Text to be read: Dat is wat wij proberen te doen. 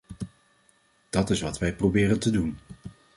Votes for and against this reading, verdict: 2, 0, accepted